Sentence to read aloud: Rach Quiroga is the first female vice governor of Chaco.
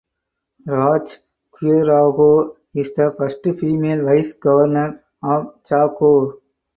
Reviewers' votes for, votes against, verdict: 0, 4, rejected